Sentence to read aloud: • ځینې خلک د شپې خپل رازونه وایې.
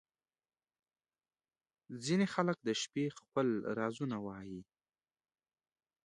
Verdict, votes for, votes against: accepted, 2, 0